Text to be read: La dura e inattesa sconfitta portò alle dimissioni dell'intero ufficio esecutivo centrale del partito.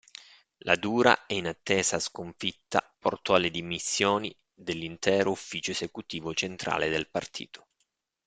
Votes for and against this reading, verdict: 2, 0, accepted